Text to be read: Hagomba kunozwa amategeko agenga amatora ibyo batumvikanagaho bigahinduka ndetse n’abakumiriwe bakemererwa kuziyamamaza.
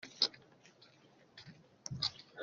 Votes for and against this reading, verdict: 0, 2, rejected